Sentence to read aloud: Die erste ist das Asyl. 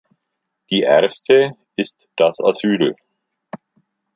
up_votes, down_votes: 2, 0